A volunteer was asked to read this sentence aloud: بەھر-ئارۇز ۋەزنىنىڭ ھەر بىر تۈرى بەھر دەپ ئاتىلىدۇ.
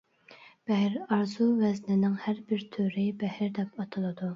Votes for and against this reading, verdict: 0, 2, rejected